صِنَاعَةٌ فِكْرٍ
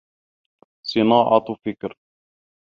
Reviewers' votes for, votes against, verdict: 2, 0, accepted